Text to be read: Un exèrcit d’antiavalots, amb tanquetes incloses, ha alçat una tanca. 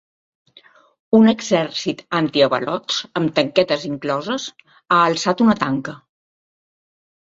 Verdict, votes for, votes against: rejected, 1, 2